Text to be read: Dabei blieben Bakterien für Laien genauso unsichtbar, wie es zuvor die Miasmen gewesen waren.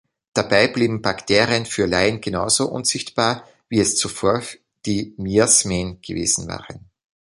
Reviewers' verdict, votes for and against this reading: rejected, 1, 2